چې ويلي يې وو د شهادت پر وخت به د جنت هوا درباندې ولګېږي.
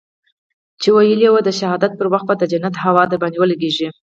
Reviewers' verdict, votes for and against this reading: accepted, 4, 2